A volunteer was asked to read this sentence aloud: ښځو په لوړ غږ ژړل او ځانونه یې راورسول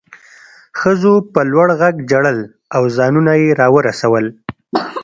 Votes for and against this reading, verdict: 0, 2, rejected